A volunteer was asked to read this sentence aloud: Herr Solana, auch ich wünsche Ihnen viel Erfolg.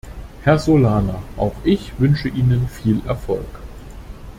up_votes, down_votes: 2, 0